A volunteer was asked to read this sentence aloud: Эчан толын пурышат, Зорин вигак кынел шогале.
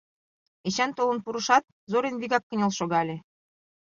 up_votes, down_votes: 2, 0